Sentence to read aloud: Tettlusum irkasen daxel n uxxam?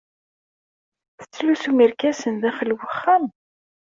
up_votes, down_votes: 2, 0